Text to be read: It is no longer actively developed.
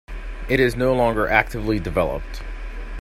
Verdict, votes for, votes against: accepted, 2, 0